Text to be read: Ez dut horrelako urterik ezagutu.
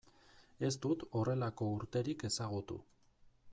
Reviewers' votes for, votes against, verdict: 2, 0, accepted